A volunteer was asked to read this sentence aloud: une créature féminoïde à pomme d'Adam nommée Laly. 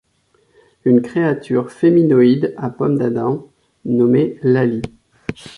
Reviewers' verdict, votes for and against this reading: accepted, 2, 0